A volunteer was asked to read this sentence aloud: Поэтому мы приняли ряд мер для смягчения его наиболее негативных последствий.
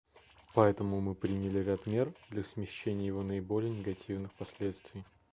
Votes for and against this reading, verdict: 1, 2, rejected